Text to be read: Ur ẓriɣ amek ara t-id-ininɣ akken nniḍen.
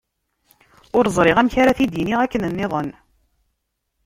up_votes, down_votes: 1, 2